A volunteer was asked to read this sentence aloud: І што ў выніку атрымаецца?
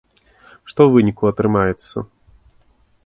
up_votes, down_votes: 0, 2